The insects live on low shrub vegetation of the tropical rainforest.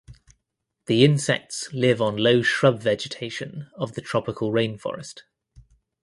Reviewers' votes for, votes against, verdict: 2, 0, accepted